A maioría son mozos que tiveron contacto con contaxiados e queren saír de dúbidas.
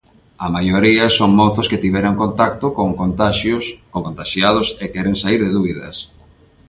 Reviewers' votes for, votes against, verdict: 0, 2, rejected